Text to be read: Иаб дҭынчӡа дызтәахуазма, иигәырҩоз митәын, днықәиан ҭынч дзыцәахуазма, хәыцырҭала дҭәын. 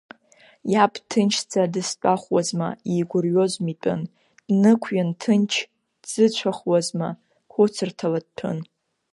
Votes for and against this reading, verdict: 3, 1, accepted